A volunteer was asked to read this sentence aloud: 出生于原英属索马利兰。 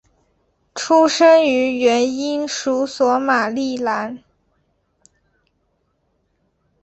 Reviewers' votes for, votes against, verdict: 4, 0, accepted